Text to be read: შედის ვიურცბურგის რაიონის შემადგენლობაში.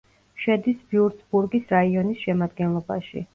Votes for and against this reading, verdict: 2, 0, accepted